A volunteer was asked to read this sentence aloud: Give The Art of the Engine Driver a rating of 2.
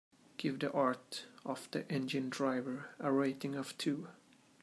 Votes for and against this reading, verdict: 0, 2, rejected